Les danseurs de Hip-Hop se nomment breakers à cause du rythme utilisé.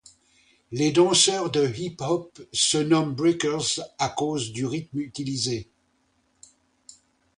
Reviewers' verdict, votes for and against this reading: accepted, 2, 0